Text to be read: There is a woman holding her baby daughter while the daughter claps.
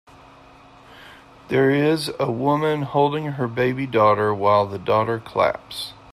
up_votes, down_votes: 2, 0